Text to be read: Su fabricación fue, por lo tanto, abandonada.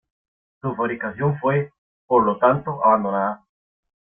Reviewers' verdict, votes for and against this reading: accepted, 2, 0